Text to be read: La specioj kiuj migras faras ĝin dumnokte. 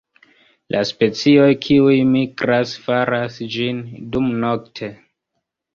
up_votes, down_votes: 1, 2